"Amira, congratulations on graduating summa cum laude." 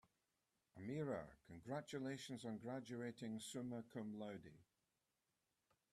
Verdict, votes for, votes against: accepted, 2, 0